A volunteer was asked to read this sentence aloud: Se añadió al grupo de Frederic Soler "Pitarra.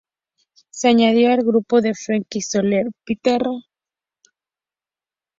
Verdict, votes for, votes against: rejected, 0, 4